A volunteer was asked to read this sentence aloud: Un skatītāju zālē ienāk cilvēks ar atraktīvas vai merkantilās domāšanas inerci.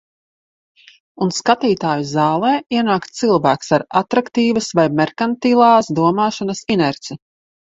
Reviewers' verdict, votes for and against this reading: accepted, 2, 0